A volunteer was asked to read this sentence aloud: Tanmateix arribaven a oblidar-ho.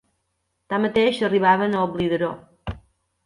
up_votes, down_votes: 0, 2